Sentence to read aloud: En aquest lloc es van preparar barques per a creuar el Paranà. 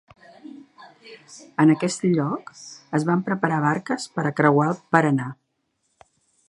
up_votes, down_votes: 2, 0